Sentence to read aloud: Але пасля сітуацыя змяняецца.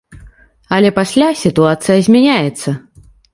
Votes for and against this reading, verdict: 2, 0, accepted